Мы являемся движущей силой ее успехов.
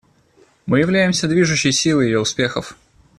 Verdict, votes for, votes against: accepted, 2, 0